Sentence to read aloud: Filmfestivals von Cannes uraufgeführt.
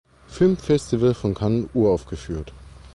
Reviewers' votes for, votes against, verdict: 1, 2, rejected